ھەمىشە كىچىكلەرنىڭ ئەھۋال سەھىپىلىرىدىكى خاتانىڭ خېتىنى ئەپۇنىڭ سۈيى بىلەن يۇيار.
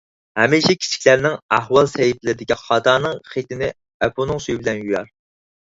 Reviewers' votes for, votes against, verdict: 4, 0, accepted